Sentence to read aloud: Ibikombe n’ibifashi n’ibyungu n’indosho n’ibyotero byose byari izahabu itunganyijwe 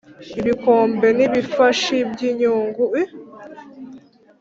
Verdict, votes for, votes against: rejected, 1, 2